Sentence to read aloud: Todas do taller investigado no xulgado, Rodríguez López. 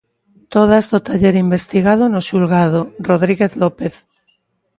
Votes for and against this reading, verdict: 2, 0, accepted